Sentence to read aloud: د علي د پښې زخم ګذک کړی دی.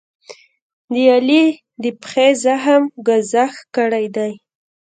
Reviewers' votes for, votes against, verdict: 0, 2, rejected